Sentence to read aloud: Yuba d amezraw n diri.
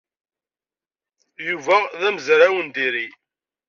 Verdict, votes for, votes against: accepted, 2, 0